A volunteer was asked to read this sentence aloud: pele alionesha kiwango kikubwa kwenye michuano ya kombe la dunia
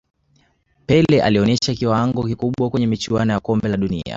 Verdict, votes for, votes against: accepted, 2, 0